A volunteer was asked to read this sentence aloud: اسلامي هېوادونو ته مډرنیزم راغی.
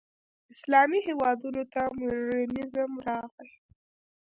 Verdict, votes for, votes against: rejected, 0, 2